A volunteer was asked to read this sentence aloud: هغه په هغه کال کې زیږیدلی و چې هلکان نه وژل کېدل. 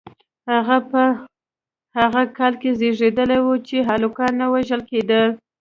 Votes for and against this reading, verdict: 2, 0, accepted